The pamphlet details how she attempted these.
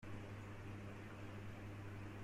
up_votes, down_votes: 0, 2